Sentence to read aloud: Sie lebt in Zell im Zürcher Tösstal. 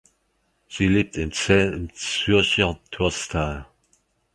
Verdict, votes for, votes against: rejected, 1, 2